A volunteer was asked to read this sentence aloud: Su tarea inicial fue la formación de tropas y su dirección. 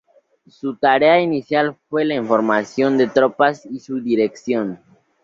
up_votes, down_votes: 0, 2